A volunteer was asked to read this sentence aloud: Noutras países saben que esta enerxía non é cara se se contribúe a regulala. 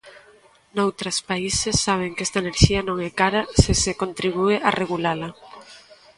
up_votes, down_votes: 3, 0